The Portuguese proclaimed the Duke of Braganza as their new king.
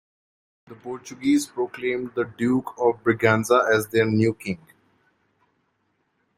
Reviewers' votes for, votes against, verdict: 2, 0, accepted